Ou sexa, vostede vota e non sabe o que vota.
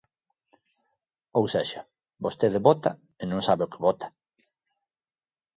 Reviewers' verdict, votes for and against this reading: accepted, 2, 0